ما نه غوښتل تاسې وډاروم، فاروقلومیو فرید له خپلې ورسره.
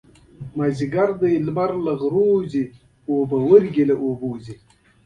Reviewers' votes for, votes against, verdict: 1, 2, rejected